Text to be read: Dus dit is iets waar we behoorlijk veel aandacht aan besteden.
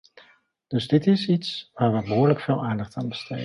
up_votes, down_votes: 2, 1